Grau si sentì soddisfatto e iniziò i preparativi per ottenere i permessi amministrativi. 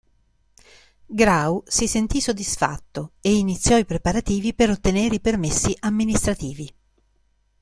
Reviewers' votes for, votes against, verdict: 2, 0, accepted